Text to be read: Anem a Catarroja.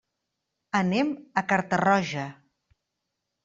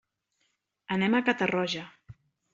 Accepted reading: second